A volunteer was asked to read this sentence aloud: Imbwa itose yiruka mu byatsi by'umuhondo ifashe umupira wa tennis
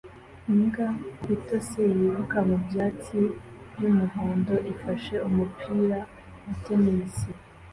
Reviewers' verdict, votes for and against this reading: accepted, 2, 0